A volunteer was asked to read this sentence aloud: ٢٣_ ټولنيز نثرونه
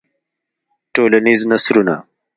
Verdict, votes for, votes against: rejected, 0, 2